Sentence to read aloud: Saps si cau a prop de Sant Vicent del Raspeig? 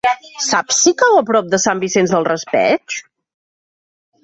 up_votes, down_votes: 2, 0